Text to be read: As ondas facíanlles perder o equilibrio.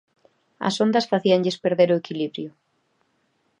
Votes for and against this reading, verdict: 3, 0, accepted